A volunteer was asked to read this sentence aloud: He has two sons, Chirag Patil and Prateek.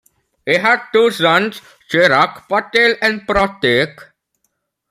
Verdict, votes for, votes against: rejected, 0, 2